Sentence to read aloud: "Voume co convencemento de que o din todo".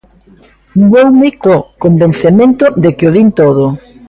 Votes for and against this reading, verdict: 1, 2, rejected